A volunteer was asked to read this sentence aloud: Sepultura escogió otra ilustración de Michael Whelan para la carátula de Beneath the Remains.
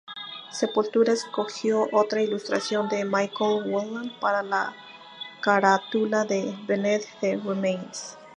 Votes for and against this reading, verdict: 0, 2, rejected